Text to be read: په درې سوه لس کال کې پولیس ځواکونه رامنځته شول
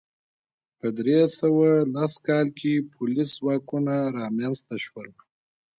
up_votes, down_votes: 0, 2